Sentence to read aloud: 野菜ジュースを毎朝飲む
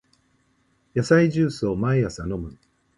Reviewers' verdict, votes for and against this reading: accepted, 7, 2